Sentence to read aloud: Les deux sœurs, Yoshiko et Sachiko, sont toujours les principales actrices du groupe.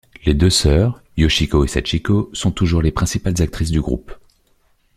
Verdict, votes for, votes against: accepted, 2, 0